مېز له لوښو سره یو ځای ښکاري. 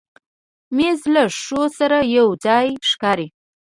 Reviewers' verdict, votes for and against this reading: accepted, 2, 0